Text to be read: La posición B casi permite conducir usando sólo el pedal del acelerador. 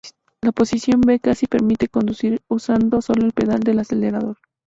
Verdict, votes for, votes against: accepted, 2, 0